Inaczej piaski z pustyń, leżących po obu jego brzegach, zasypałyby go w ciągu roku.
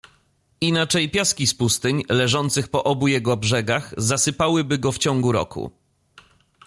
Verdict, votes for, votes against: accepted, 2, 0